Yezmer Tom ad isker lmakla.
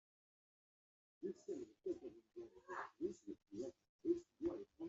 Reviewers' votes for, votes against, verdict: 0, 2, rejected